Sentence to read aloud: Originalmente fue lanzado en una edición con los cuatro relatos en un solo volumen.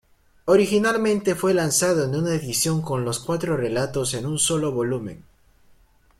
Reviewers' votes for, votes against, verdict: 2, 0, accepted